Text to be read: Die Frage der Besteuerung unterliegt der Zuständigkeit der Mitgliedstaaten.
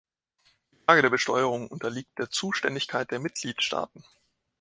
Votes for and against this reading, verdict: 1, 3, rejected